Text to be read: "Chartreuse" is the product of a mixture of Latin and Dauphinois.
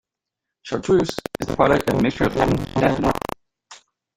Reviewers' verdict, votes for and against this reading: rejected, 0, 2